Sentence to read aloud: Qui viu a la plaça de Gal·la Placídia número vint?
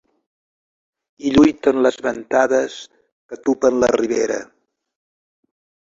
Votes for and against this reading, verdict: 0, 2, rejected